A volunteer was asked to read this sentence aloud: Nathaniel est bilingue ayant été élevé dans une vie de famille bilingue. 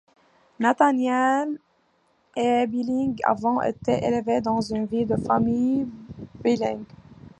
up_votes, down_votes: 0, 2